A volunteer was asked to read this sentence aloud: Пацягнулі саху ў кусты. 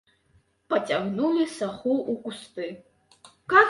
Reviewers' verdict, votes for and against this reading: accepted, 2, 0